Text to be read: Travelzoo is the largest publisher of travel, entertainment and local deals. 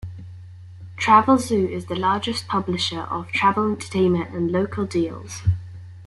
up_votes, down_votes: 2, 0